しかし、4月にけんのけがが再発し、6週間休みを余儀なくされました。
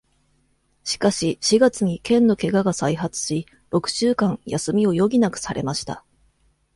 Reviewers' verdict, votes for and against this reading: rejected, 0, 2